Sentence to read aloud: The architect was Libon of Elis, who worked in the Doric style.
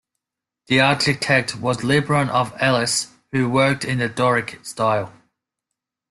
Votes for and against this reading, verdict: 2, 0, accepted